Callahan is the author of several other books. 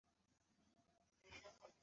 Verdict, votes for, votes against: rejected, 0, 2